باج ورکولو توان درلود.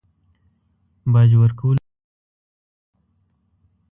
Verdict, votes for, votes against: rejected, 0, 2